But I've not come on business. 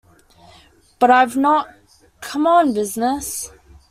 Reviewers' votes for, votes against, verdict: 2, 0, accepted